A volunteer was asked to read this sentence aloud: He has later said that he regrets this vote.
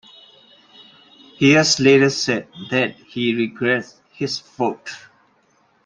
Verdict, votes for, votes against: rejected, 0, 2